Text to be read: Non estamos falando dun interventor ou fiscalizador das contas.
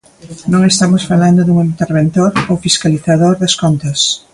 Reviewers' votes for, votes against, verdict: 0, 2, rejected